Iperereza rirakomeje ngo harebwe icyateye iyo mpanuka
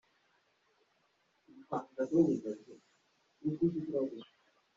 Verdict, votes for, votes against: rejected, 0, 2